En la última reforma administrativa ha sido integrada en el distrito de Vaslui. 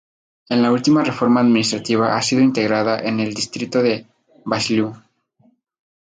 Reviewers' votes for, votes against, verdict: 4, 2, accepted